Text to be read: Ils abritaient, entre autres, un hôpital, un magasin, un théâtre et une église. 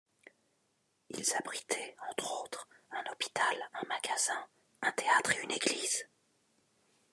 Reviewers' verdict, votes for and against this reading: accepted, 2, 0